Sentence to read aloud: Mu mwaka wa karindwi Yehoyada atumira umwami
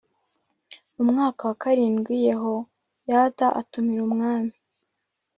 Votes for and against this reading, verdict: 2, 1, accepted